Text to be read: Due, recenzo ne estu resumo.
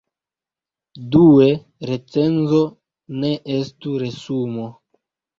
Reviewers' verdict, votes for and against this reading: accepted, 2, 0